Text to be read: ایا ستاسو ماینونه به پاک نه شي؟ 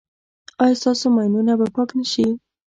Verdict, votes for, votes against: rejected, 1, 2